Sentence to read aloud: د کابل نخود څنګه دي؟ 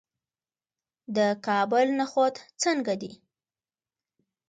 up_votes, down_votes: 2, 0